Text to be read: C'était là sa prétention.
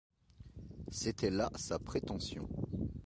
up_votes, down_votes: 2, 0